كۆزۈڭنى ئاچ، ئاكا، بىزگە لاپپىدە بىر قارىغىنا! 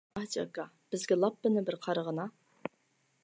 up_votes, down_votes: 0, 2